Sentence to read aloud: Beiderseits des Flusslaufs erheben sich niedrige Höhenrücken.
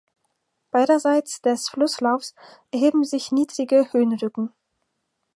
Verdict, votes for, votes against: accepted, 4, 0